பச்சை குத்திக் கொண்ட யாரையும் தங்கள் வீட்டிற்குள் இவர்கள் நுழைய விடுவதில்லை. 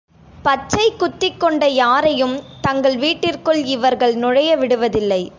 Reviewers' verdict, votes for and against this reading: accepted, 2, 0